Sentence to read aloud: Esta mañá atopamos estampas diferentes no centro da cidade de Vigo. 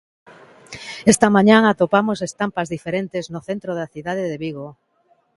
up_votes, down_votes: 2, 0